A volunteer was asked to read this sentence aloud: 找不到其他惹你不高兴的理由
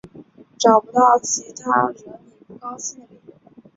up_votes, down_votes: 1, 5